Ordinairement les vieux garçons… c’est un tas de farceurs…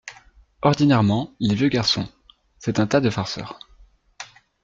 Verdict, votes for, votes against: accepted, 2, 0